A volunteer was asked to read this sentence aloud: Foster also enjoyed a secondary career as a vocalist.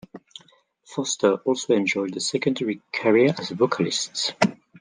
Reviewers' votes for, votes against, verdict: 2, 0, accepted